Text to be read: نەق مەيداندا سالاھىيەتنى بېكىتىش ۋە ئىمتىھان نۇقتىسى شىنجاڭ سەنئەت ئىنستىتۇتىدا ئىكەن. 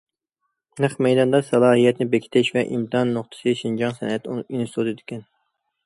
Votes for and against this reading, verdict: 0, 2, rejected